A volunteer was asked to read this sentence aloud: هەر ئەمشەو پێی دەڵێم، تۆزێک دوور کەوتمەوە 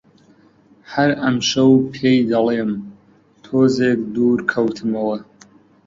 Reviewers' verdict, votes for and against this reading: accepted, 2, 0